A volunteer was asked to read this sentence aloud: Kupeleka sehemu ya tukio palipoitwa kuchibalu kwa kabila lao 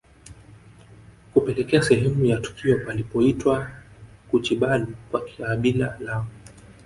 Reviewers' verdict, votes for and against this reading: rejected, 1, 2